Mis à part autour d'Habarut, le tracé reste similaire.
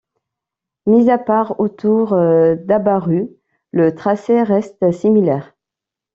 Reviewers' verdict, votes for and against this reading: accepted, 2, 0